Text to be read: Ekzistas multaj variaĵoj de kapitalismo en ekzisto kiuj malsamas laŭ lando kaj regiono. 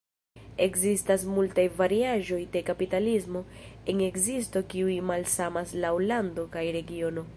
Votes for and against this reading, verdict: 1, 2, rejected